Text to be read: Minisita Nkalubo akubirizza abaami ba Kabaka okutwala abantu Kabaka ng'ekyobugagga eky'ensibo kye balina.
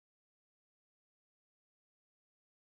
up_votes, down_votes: 0, 2